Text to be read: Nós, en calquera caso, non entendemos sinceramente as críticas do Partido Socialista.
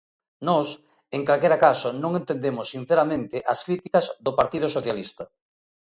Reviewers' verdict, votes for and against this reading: accepted, 2, 0